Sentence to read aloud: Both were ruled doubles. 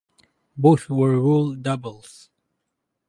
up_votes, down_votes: 2, 2